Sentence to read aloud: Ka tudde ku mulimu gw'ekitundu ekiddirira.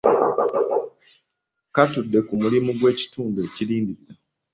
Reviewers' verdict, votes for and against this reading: rejected, 0, 2